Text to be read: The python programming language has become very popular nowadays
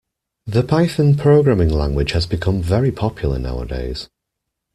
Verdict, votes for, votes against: accepted, 2, 0